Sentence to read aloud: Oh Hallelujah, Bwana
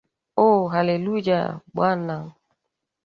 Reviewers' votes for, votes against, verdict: 1, 2, rejected